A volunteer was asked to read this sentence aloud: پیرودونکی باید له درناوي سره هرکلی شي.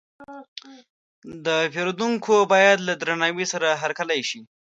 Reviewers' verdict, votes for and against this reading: rejected, 1, 2